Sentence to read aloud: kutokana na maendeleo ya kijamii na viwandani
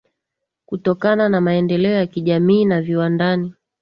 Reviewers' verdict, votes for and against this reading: accepted, 17, 4